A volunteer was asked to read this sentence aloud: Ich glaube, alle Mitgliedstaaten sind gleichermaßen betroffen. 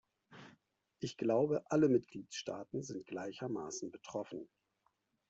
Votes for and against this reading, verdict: 2, 1, accepted